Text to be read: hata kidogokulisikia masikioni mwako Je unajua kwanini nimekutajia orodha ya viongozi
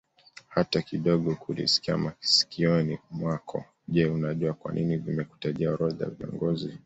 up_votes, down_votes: 2, 0